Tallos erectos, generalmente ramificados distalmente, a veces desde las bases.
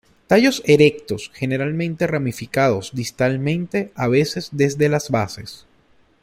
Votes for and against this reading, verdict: 2, 0, accepted